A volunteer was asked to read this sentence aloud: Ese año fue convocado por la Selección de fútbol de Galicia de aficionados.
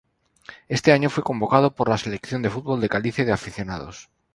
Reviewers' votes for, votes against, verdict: 2, 2, rejected